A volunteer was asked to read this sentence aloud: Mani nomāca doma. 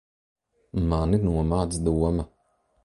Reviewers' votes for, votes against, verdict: 1, 2, rejected